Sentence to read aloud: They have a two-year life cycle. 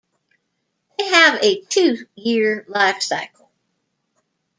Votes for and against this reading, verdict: 0, 2, rejected